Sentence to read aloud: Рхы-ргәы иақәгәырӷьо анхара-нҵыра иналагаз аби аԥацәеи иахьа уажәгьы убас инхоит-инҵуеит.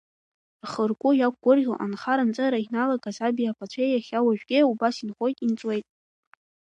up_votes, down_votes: 1, 2